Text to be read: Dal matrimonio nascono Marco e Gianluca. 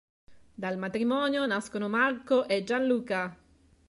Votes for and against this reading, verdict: 3, 0, accepted